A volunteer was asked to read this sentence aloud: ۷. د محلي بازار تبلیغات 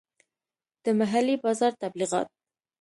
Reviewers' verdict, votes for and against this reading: rejected, 0, 2